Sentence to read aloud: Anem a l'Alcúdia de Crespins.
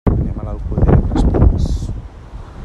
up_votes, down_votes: 1, 2